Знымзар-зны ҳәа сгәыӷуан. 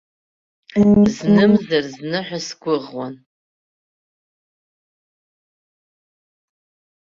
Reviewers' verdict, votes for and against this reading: rejected, 1, 2